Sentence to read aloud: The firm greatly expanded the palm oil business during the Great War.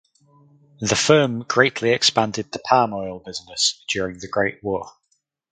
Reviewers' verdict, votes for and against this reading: accepted, 4, 0